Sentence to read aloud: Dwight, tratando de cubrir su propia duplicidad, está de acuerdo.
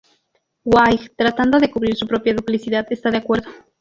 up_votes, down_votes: 2, 0